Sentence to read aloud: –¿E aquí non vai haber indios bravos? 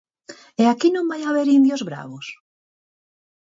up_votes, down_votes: 4, 0